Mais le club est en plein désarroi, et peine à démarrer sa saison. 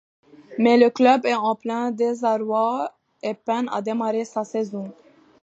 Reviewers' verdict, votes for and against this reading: accepted, 2, 1